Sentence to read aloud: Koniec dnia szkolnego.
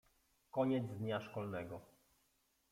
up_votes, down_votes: 0, 2